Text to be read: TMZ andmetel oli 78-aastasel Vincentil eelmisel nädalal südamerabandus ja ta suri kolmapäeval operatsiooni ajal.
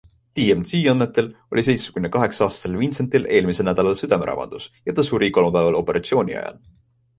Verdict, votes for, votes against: rejected, 0, 2